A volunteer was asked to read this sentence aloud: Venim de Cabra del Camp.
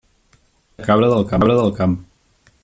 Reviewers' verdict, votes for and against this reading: rejected, 0, 2